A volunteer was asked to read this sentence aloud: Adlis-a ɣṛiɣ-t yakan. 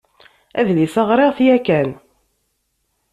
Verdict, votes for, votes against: accepted, 2, 0